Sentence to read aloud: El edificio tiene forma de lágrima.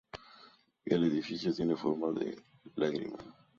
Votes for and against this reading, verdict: 2, 0, accepted